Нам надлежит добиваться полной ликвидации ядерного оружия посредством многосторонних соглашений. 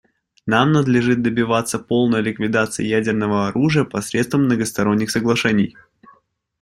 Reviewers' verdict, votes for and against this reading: accepted, 2, 0